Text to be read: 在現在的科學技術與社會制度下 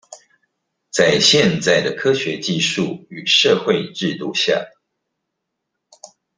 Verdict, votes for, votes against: accepted, 2, 0